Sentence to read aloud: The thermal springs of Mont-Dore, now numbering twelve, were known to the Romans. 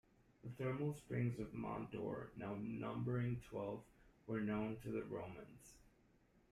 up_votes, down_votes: 0, 2